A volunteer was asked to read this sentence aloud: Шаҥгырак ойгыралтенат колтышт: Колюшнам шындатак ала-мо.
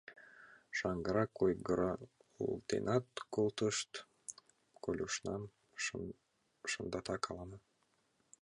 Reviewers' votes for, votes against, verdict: 1, 5, rejected